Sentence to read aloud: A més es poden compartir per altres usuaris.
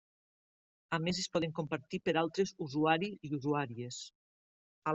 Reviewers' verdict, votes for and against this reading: rejected, 0, 2